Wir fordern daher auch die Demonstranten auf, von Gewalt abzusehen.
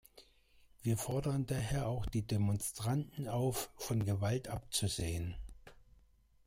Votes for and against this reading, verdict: 1, 2, rejected